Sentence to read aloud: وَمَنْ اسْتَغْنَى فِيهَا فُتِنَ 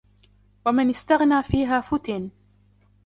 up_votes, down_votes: 2, 0